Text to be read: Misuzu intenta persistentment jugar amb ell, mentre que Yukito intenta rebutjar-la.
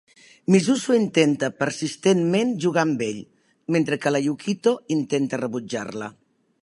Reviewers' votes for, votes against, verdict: 1, 2, rejected